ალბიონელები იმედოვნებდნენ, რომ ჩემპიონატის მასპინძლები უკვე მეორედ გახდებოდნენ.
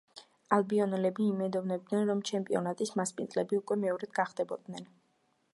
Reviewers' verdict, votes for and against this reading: accepted, 2, 0